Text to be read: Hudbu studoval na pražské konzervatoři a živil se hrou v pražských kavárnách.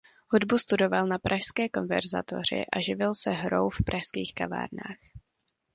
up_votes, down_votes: 0, 2